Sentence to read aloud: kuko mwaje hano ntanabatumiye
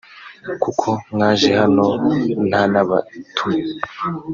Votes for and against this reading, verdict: 1, 2, rejected